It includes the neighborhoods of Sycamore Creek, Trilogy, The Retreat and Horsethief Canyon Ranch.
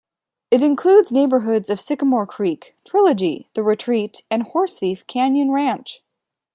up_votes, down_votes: 2, 0